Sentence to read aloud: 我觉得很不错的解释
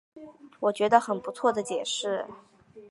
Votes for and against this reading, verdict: 2, 0, accepted